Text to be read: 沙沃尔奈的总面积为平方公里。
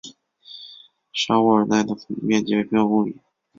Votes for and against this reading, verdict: 1, 2, rejected